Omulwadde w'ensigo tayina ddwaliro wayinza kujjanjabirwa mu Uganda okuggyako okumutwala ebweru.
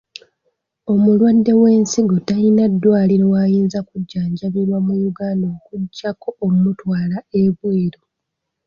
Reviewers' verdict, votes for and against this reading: accepted, 2, 1